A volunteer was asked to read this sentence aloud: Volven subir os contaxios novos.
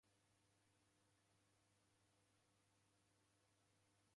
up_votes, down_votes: 0, 2